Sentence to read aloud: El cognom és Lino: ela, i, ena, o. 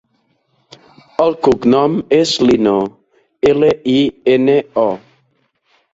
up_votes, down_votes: 1, 2